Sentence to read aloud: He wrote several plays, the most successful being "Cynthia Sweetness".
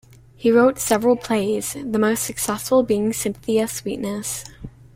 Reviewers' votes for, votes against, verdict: 2, 0, accepted